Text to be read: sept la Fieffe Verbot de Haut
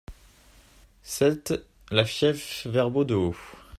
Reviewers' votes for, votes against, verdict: 2, 0, accepted